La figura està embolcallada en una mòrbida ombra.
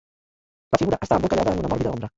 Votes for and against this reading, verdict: 1, 2, rejected